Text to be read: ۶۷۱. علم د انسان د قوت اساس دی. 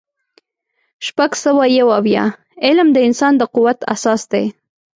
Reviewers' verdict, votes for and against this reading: rejected, 0, 2